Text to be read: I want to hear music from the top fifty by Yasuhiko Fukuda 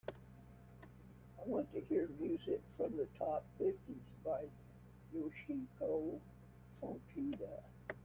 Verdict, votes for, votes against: rejected, 0, 2